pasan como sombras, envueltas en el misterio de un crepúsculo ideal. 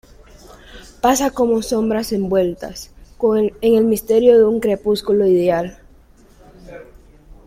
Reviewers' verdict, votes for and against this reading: rejected, 1, 2